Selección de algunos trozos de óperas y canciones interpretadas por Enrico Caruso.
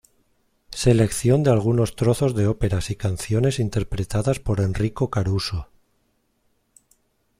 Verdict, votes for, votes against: accepted, 2, 0